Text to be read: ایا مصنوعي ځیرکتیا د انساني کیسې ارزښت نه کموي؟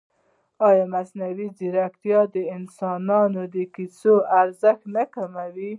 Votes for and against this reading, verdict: 2, 0, accepted